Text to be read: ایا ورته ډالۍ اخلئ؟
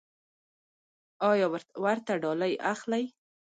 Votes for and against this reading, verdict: 1, 2, rejected